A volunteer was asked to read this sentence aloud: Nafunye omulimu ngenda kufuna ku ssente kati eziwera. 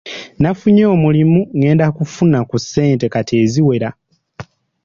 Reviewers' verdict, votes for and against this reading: accepted, 3, 0